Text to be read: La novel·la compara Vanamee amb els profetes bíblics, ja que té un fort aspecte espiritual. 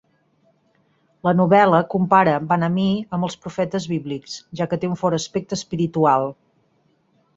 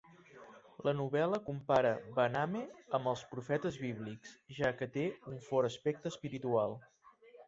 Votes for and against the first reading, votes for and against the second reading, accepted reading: 4, 0, 1, 2, first